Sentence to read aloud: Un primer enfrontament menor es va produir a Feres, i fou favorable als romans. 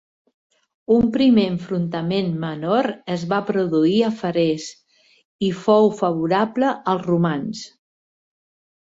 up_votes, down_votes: 4, 1